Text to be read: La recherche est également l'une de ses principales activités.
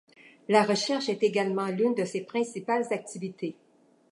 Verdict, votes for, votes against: accepted, 2, 0